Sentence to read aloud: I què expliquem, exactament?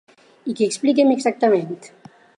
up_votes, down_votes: 4, 2